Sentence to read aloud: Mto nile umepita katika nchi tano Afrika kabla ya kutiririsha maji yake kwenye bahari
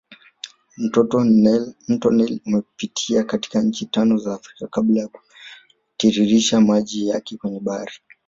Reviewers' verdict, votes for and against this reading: rejected, 0, 2